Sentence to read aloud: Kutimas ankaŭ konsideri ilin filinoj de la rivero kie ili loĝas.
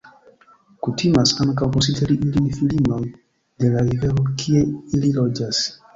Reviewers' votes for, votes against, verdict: 1, 2, rejected